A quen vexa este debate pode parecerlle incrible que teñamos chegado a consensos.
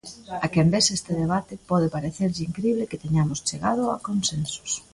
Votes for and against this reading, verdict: 2, 0, accepted